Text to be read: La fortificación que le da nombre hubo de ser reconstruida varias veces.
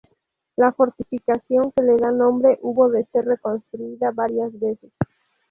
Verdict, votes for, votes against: rejected, 2, 2